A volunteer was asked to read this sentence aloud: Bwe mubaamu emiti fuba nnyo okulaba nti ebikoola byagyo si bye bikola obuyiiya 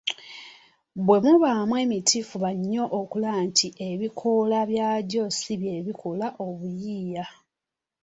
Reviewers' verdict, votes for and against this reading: accepted, 2, 0